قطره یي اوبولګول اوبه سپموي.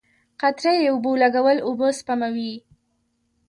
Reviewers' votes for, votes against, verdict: 1, 2, rejected